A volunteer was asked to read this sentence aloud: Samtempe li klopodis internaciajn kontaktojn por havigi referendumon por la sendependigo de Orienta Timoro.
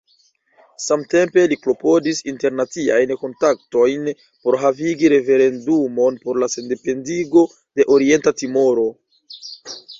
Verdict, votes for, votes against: rejected, 1, 2